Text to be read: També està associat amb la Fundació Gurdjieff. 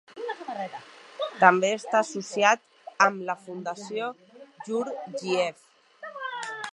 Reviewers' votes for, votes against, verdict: 0, 2, rejected